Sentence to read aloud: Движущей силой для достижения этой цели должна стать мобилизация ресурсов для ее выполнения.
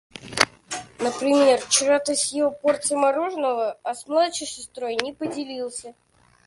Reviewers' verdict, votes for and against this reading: rejected, 0, 2